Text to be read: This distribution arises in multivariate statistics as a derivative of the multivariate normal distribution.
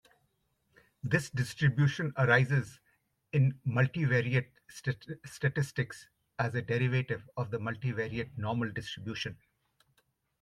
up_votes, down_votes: 1, 2